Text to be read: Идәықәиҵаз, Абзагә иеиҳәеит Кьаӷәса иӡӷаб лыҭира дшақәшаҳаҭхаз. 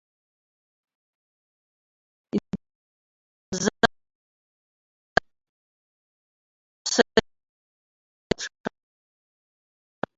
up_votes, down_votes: 0, 2